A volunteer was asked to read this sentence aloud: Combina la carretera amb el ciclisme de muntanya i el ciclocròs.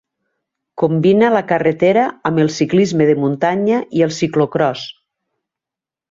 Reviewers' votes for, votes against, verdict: 2, 0, accepted